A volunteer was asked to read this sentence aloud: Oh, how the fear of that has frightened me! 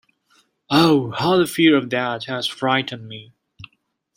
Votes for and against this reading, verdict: 0, 2, rejected